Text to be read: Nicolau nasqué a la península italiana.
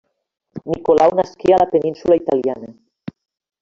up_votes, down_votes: 0, 2